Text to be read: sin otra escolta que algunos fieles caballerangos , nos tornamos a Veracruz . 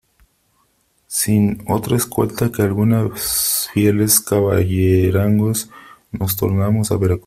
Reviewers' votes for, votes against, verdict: 0, 3, rejected